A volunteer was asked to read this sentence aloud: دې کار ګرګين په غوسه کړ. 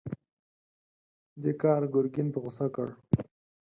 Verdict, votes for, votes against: accepted, 4, 0